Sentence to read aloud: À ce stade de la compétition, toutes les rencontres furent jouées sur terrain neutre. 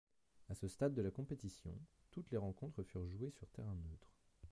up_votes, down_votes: 1, 2